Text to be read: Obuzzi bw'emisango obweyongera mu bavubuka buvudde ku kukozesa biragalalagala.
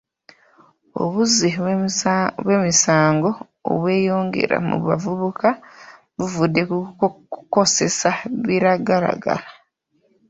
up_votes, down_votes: 0, 2